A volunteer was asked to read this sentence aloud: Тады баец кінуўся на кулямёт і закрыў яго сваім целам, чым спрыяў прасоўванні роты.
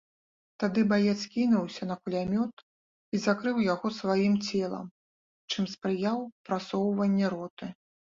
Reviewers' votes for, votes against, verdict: 3, 0, accepted